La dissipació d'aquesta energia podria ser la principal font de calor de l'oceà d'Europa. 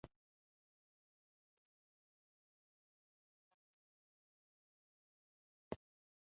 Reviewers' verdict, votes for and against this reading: rejected, 0, 2